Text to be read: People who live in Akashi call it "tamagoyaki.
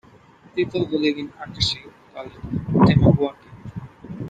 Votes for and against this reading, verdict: 1, 2, rejected